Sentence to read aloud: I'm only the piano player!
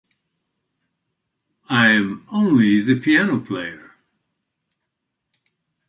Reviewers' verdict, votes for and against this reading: accepted, 2, 0